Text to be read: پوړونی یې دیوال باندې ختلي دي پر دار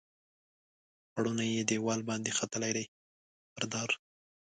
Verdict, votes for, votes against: rejected, 1, 2